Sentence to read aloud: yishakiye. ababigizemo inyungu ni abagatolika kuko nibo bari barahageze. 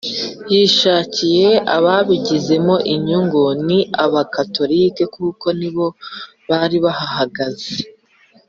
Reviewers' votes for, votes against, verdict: 2, 3, rejected